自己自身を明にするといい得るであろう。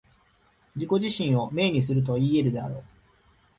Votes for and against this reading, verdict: 2, 0, accepted